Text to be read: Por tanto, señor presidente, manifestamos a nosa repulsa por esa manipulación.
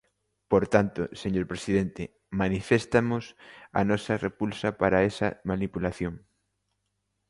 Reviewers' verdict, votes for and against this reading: rejected, 0, 2